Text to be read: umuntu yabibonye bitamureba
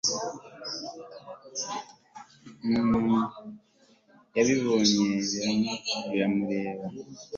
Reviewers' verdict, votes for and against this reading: rejected, 1, 2